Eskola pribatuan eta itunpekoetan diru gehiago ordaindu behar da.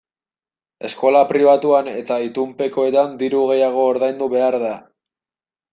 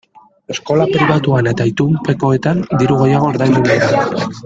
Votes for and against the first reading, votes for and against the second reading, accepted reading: 2, 0, 1, 2, first